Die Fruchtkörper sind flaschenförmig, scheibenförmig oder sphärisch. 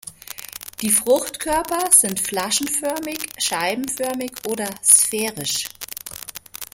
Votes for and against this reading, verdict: 2, 0, accepted